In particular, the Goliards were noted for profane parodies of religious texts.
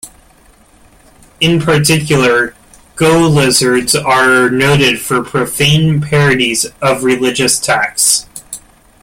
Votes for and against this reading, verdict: 0, 2, rejected